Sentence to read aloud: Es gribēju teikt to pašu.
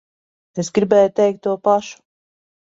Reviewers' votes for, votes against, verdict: 1, 2, rejected